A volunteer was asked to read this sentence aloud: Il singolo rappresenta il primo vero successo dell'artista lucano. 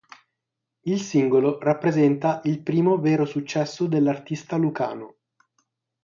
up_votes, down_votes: 6, 0